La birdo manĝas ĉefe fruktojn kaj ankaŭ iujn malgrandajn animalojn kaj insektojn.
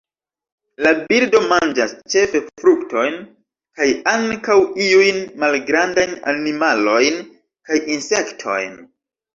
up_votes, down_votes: 0, 2